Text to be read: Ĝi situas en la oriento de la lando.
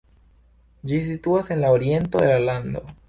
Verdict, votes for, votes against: rejected, 0, 2